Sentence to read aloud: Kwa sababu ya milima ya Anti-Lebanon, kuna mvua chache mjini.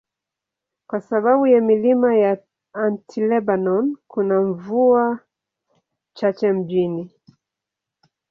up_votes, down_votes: 2, 0